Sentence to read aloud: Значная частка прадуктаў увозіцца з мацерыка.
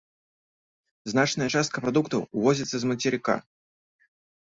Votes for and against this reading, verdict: 2, 0, accepted